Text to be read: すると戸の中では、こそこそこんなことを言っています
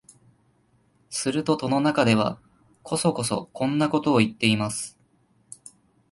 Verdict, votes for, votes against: accepted, 2, 0